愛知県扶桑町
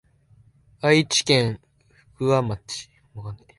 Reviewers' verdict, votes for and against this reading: rejected, 4, 13